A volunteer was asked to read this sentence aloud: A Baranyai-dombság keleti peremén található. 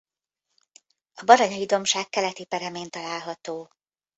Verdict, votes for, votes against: accepted, 2, 0